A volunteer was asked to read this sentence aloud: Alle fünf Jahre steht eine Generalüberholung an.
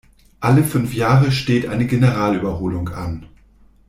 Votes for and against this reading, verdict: 2, 0, accepted